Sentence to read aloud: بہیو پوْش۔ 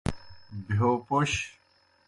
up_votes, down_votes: 2, 0